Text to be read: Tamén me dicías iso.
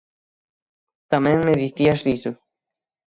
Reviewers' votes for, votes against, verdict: 3, 6, rejected